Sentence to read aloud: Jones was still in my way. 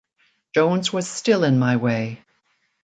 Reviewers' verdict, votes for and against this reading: accepted, 2, 0